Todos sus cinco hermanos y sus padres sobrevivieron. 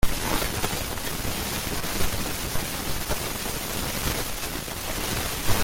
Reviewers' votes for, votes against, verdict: 0, 2, rejected